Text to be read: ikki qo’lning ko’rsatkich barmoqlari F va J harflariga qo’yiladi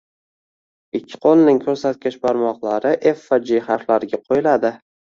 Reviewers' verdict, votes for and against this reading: rejected, 1, 2